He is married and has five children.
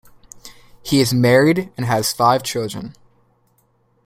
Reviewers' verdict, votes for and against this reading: accepted, 2, 0